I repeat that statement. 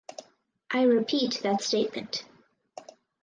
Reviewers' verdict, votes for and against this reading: accepted, 4, 0